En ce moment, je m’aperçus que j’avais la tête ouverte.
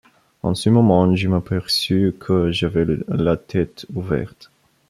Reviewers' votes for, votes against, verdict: 0, 2, rejected